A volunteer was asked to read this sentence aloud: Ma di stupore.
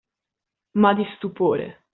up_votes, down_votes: 2, 0